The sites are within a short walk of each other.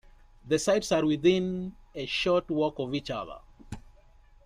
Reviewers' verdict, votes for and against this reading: accepted, 2, 1